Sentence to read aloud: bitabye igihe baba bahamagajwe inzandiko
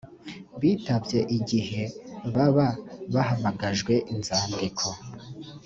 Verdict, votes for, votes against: accepted, 2, 0